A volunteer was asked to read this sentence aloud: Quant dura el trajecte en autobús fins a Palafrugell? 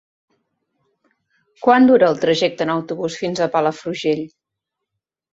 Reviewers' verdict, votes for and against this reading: accepted, 3, 1